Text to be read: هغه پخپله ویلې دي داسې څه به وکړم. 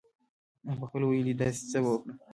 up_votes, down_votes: 2, 0